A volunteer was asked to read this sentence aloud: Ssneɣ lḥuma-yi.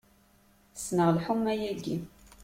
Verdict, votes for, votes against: rejected, 0, 2